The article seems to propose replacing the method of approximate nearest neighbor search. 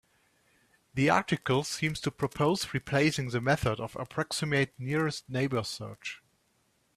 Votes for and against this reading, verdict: 1, 2, rejected